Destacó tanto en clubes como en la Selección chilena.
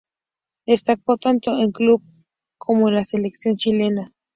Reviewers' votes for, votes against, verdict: 0, 2, rejected